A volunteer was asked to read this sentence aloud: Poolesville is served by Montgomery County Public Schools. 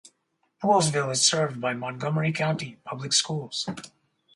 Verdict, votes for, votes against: rejected, 0, 2